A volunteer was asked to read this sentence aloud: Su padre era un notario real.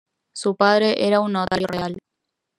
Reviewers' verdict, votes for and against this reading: rejected, 1, 2